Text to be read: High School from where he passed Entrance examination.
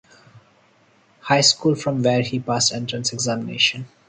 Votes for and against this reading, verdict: 2, 0, accepted